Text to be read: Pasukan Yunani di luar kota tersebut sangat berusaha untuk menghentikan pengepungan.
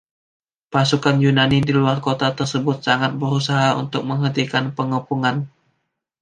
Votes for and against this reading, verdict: 2, 0, accepted